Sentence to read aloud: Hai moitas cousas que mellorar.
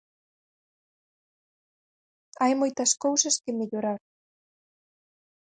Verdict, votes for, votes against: accepted, 4, 0